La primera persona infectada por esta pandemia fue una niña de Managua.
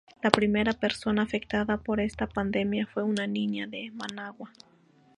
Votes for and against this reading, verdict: 0, 2, rejected